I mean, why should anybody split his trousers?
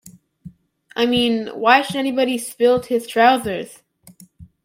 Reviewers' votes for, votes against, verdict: 0, 2, rejected